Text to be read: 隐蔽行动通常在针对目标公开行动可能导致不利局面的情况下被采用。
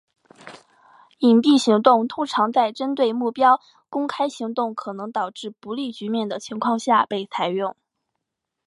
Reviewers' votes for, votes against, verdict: 2, 0, accepted